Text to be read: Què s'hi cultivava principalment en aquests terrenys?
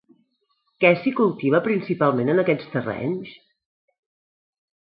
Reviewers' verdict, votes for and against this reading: rejected, 0, 2